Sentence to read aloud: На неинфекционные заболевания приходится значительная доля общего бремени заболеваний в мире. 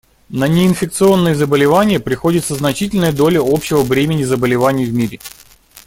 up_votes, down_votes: 2, 0